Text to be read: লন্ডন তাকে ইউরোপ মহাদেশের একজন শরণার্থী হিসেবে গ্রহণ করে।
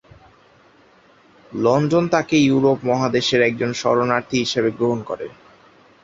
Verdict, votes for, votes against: accepted, 6, 0